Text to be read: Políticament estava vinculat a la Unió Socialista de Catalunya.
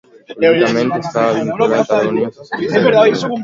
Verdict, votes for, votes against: rejected, 0, 2